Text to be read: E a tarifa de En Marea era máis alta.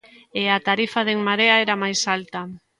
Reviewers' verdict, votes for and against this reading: accepted, 2, 0